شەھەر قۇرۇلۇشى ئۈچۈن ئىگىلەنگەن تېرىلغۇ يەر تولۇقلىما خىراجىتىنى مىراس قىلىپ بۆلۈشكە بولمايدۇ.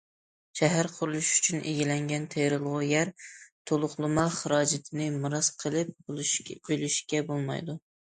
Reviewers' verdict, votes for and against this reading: rejected, 0, 2